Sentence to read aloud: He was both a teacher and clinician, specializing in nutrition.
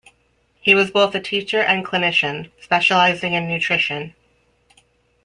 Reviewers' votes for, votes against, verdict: 2, 0, accepted